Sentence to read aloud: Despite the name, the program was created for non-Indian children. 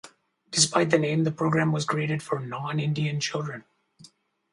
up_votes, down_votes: 4, 0